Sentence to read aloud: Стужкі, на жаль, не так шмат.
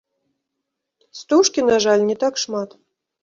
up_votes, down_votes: 0, 2